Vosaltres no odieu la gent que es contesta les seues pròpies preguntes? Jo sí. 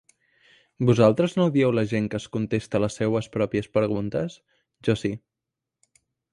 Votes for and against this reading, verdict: 1, 2, rejected